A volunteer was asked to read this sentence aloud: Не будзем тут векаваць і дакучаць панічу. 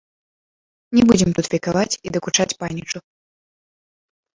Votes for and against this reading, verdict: 2, 1, accepted